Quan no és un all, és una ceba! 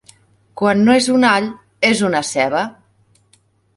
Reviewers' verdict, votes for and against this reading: accepted, 4, 0